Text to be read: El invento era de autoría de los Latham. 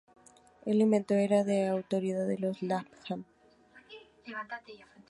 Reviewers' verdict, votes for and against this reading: rejected, 0, 2